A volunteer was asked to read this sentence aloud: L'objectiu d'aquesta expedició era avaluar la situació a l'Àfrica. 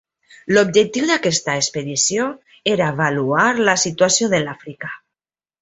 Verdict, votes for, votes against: rejected, 1, 2